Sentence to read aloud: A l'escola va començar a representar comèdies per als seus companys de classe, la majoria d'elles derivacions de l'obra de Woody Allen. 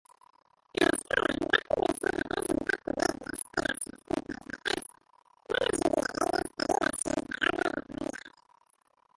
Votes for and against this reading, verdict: 0, 2, rejected